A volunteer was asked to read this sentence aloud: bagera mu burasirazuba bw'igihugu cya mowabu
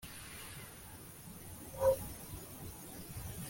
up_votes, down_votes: 1, 2